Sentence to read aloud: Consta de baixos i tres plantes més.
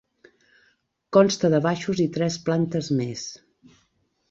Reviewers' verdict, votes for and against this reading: accepted, 3, 0